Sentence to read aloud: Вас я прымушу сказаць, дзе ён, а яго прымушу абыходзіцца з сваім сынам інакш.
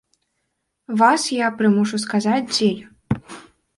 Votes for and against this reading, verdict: 0, 2, rejected